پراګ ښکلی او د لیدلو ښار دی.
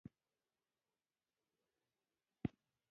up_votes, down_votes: 0, 2